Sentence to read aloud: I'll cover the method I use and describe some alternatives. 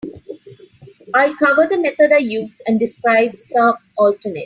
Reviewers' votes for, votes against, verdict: 2, 7, rejected